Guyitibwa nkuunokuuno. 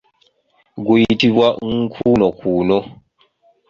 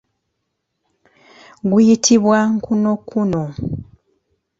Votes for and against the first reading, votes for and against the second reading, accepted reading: 2, 0, 0, 2, first